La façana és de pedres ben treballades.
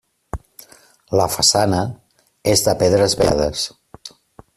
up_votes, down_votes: 0, 2